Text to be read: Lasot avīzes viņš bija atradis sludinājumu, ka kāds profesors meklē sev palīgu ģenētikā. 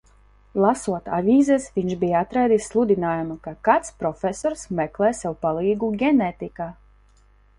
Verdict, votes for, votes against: accepted, 2, 0